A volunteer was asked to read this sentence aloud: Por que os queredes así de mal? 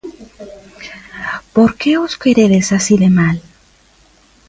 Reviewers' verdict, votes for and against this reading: accepted, 2, 0